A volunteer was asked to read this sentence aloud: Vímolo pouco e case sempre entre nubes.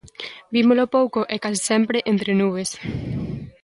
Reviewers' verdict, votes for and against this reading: accepted, 2, 0